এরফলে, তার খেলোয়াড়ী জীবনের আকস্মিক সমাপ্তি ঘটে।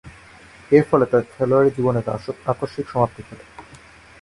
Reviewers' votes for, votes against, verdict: 0, 3, rejected